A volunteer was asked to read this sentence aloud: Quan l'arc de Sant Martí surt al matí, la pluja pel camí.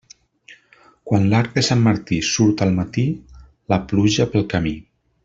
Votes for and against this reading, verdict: 2, 0, accepted